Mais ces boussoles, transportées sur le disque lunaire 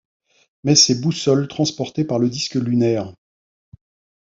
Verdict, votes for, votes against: rejected, 0, 2